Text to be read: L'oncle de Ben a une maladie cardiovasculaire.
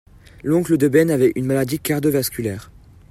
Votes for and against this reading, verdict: 0, 2, rejected